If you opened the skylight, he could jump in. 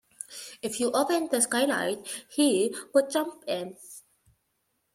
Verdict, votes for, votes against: rejected, 0, 2